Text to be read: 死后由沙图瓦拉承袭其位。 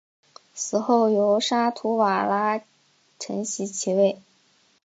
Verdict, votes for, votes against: accepted, 2, 0